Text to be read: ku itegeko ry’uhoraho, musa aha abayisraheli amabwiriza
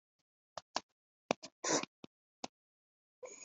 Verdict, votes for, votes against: rejected, 0, 3